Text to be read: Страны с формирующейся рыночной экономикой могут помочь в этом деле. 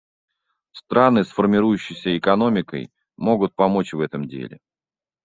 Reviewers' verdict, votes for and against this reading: rejected, 0, 2